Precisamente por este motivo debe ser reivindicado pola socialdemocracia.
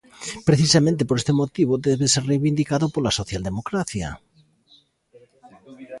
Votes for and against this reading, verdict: 0, 2, rejected